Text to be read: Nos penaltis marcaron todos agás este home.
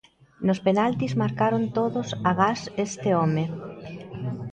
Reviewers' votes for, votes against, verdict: 2, 0, accepted